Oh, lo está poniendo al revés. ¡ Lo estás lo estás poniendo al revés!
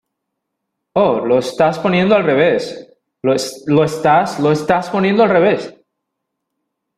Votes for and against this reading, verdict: 0, 2, rejected